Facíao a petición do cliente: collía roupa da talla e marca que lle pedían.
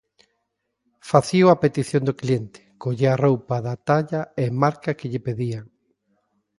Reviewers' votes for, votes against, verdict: 2, 0, accepted